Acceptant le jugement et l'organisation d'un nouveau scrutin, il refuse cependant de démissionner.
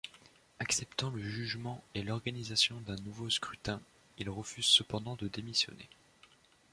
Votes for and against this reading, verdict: 2, 0, accepted